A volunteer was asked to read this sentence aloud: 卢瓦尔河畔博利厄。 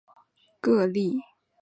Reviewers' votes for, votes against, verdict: 0, 2, rejected